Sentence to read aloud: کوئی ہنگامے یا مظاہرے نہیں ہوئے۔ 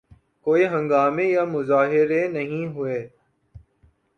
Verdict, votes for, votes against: accepted, 2, 0